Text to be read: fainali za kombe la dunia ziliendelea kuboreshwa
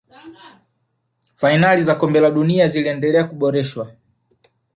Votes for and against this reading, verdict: 0, 2, rejected